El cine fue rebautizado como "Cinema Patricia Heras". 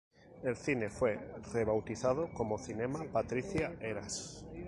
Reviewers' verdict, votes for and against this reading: rejected, 2, 2